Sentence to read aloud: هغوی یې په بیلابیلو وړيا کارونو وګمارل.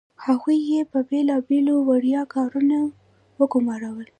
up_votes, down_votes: 1, 2